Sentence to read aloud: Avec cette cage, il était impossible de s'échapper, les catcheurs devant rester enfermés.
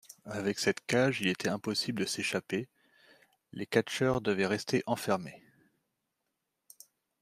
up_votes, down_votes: 0, 2